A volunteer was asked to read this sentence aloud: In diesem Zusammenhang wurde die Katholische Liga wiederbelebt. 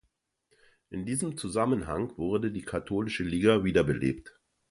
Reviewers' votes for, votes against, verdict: 2, 0, accepted